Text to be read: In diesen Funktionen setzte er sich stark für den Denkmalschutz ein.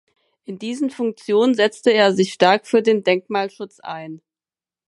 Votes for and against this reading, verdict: 4, 0, accepted